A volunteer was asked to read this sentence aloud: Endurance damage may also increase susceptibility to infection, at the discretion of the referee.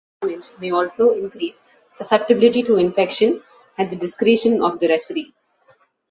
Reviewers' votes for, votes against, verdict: 0, 2, rejected